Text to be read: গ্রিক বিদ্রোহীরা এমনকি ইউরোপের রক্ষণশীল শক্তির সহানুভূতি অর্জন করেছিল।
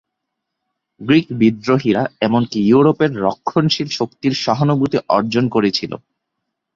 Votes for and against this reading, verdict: 1, 2, rejected